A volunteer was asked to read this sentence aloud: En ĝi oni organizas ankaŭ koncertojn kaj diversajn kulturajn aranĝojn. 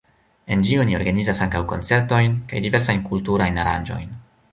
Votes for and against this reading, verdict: 1, 2, rejected